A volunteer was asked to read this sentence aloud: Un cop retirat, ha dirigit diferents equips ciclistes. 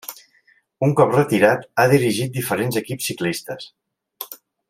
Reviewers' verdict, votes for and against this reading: rejected, 1, 2